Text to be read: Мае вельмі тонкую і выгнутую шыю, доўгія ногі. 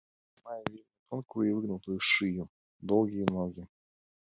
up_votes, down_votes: 0, 2